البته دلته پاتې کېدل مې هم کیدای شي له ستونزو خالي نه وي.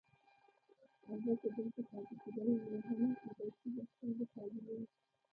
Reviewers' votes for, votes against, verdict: 1, 2, rejected